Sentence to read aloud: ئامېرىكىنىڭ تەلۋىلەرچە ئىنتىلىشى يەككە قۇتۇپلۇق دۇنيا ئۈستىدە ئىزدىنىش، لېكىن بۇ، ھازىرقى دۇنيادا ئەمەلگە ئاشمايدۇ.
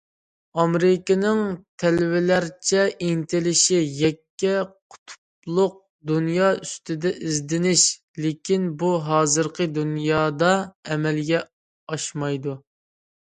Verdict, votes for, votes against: accepted, 2, 0